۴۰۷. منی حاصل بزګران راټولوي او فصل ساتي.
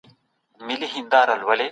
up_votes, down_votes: 0, 2